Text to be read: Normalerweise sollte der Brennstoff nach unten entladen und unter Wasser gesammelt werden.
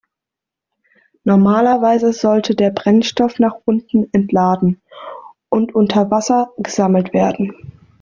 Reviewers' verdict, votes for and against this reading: accepted, 2, 0